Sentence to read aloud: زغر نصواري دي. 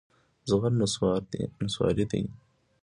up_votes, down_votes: 2, 1